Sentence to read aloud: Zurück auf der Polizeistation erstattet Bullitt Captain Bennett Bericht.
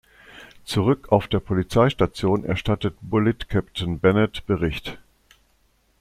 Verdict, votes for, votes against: accepted, 2, 0